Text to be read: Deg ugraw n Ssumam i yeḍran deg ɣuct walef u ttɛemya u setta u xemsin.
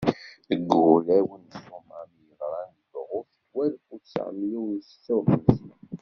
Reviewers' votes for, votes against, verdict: 0, 2, rejected